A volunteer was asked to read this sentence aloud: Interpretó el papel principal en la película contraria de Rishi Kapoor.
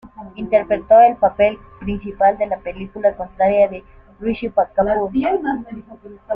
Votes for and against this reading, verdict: 0, 2, rejected